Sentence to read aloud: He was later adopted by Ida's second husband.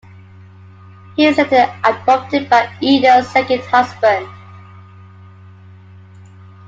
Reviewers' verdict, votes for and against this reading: accepted, 2, 1